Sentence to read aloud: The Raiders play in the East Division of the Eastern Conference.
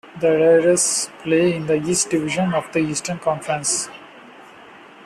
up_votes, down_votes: 0, 2